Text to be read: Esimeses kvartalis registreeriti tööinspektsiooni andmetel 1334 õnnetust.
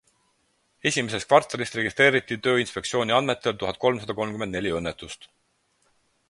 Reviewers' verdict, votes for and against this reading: rejected, 0, 2